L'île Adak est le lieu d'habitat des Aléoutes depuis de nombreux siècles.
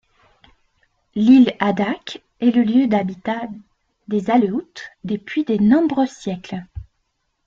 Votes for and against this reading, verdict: 0, 2, rejected